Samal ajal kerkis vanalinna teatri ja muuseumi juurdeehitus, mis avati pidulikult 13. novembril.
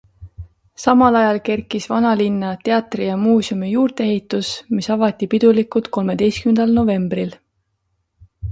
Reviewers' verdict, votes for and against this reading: rejected, 0, 2